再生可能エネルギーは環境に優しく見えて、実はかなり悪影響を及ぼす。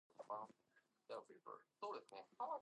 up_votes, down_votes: 0, 2